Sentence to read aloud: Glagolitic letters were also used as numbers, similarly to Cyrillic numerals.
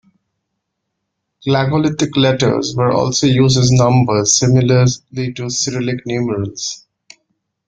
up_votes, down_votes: 0, 2